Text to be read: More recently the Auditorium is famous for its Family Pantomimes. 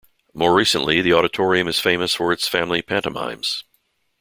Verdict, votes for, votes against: accepted, 2, 0